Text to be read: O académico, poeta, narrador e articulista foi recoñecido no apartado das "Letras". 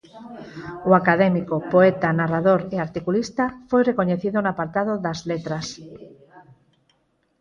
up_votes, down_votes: 2, 4